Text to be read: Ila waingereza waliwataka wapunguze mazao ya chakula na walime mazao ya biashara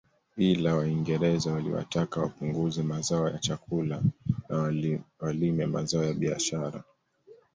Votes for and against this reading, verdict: 1, 2, rejected